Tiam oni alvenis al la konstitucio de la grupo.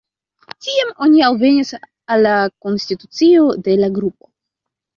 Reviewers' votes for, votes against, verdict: 2, 1, accepted